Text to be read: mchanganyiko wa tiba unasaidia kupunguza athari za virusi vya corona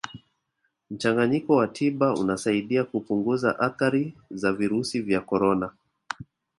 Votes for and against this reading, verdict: 2, 0, accepted